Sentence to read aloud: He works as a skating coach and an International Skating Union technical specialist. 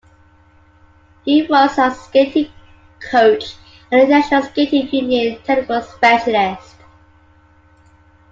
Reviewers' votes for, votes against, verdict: 1, 2, rejected